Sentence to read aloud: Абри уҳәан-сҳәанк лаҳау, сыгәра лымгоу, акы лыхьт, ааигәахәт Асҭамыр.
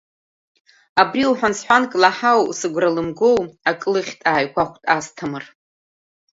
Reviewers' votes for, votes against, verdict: 2, 0, accepted